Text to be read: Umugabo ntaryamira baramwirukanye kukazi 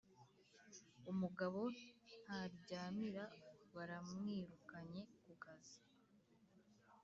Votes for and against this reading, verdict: 0, 2, rejected